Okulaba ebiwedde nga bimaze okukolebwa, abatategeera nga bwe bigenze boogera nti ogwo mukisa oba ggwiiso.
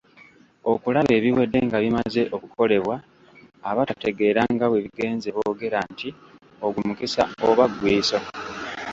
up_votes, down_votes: 0, 2